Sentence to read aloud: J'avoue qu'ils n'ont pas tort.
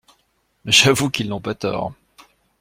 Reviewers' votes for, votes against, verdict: 2, 0, accepted